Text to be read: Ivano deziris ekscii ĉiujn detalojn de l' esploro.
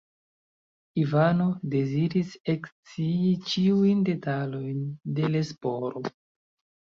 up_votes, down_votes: 0, 2